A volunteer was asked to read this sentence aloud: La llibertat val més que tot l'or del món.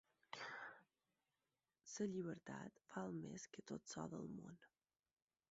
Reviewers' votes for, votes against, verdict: 4, 0, accepted